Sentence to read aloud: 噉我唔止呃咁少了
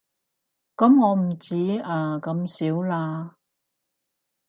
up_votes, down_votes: 0, 4